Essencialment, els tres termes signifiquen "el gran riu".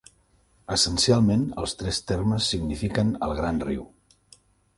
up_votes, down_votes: 3, 0